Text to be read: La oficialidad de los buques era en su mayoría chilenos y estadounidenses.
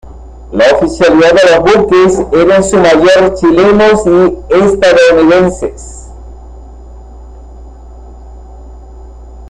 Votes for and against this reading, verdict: 1, 2, rejected